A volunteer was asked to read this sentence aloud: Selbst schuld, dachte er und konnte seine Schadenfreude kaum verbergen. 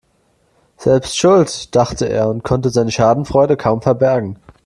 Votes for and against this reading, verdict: 2, 0, accepted